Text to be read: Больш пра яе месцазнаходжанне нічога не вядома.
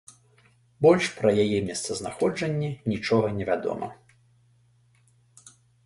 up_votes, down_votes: 2, 0